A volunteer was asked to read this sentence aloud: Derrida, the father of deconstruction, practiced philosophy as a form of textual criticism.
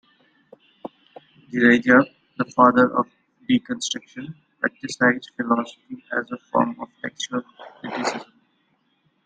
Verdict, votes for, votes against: rejected, 1, 2